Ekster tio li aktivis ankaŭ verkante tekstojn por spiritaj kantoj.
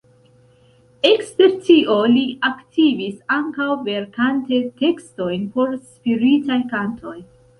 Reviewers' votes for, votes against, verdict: 3, 0, accepted